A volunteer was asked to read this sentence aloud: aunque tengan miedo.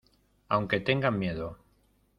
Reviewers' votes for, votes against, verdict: 2, 0, accepted